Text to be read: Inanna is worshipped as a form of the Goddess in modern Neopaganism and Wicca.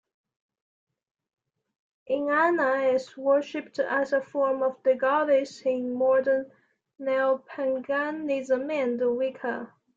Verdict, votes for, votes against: rejected, 1, 2